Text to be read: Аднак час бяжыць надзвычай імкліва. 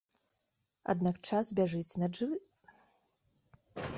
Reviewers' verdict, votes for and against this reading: rejected, 0, 2